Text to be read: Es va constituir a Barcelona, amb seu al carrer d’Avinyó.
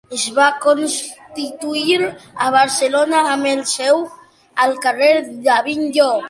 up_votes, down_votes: 1, 2